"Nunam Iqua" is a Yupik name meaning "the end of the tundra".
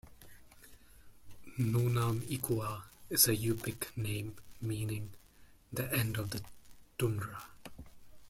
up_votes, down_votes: 2, 0